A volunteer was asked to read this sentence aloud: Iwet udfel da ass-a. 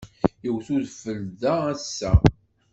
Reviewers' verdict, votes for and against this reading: accepted, 2, 0